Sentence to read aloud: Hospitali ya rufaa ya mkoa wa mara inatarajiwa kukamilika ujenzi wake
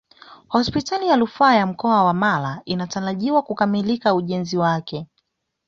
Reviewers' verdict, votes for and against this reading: accepted, 2, 0